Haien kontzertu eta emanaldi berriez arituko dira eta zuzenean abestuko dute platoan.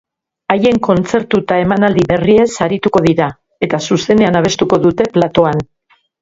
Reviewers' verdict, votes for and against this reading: rejected, 3, 4